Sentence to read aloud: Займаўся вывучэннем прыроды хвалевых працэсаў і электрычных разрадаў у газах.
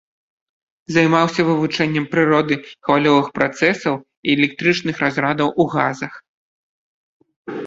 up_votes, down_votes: 1, 2